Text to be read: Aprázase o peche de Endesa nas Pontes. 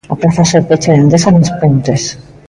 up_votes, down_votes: 3, 0